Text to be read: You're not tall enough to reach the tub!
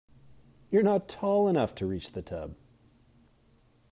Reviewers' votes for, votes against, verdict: 2, 0, accepted